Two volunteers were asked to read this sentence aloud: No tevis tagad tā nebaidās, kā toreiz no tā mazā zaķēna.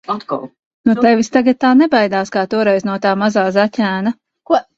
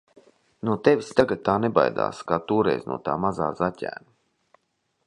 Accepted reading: second